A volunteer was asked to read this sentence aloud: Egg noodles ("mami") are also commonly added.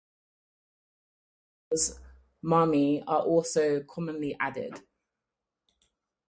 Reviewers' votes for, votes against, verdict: 2, 4, rejected